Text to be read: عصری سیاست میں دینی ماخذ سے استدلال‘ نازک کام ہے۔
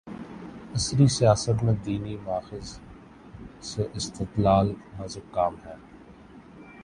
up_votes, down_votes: 4, 2